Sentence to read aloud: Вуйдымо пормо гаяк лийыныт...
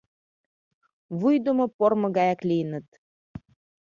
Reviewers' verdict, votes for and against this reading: accepted, 2, 0